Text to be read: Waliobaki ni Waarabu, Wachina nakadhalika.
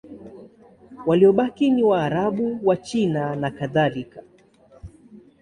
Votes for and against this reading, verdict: 3, 0, accepted